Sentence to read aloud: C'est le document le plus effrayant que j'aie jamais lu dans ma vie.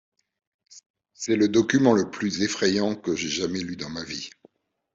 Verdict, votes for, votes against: accepted, 2, 0